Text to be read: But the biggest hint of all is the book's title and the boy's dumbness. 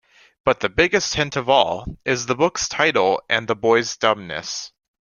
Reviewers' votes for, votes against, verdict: 2, 0, accepted